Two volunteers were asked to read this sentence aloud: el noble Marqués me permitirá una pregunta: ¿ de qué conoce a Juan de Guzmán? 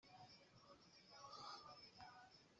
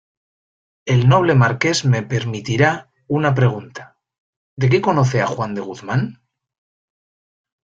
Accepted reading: second